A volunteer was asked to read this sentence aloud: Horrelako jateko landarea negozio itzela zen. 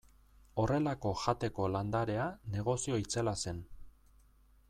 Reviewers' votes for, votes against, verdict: 2, 0, accepted